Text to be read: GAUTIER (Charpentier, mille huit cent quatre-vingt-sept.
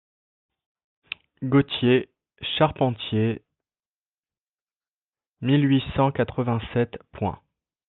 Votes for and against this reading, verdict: 0, 2, rejected